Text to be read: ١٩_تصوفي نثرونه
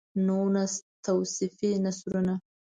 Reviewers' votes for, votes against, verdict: 0, 2, rejected